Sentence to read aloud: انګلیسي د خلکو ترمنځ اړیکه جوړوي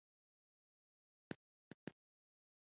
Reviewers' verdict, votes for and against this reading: rejected, 1, 2